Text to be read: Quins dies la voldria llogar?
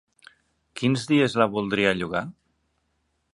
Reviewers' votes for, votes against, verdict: 3, 0, accepted